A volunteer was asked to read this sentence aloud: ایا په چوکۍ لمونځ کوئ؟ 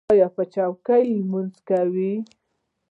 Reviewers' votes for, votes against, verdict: 0, 2, rejected